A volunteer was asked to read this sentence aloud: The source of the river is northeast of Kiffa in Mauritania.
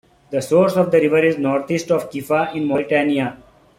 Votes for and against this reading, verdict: 2, 1, accepted